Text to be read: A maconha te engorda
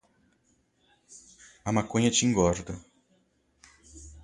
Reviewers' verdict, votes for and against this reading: accepted, 2, 0